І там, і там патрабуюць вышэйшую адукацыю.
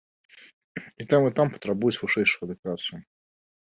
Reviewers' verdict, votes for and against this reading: accepted, 2, 0